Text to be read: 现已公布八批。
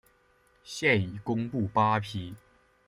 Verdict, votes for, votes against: accepted, 2, 0